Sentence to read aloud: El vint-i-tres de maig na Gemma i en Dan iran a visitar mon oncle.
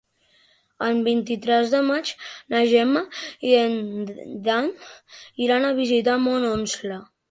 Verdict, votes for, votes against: rejected, 1, 2